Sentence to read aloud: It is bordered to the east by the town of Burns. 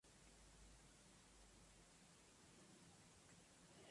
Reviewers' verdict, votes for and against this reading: rejected, 0, 2